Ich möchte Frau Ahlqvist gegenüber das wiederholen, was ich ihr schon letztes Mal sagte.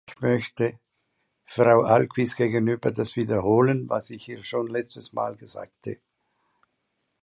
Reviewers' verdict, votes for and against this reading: accepted, 2, 0